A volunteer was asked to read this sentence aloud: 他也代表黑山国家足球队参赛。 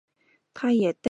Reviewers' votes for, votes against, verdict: 0, 3, rejected